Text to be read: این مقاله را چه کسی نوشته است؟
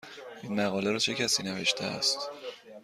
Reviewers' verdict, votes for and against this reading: accepted, 2, 0